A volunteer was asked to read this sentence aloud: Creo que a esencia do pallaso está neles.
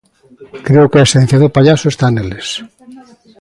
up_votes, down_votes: 2, 0